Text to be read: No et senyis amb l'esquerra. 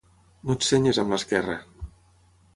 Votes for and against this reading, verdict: 6, 0, accepted